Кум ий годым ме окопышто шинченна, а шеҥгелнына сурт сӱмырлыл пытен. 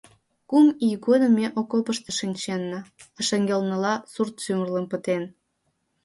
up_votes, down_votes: 0, 2